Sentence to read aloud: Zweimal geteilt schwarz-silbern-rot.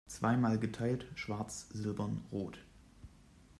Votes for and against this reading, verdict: 0, 2, rejected